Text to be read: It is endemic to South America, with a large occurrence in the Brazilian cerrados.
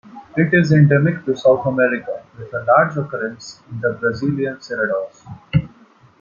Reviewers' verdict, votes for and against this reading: accepted, 2, 1